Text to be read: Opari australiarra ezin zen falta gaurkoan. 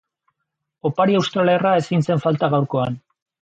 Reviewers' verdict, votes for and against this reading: rejected, 0, 3